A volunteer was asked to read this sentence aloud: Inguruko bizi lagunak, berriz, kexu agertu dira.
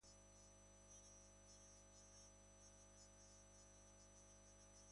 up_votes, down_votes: 0, 2